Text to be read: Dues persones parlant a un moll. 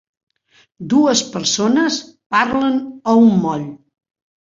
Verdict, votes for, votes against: rejected, 0, 2